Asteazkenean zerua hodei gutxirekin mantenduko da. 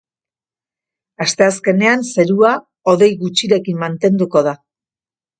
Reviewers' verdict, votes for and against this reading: accepted, 2, 0